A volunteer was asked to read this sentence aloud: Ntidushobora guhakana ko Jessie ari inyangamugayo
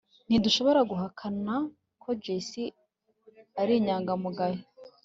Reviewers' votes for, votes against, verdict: 2, 0, accepted